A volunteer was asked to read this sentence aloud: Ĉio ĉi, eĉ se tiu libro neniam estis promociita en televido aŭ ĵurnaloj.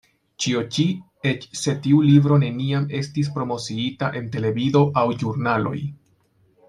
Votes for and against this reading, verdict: 2, 1, accepted